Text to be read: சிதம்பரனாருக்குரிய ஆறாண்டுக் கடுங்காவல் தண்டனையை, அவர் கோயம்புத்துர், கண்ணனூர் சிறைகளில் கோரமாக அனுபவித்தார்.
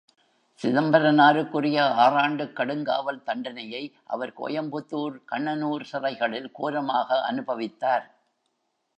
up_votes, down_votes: 2, 0